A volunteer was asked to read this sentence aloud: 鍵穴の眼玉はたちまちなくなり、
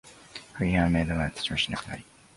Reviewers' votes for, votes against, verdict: 0, 3, rejected